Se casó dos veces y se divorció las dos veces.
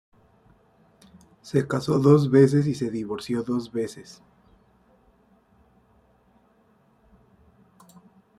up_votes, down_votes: 2, 1